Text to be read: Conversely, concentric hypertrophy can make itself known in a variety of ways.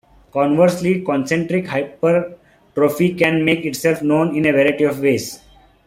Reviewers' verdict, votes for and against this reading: rejected, 1, 2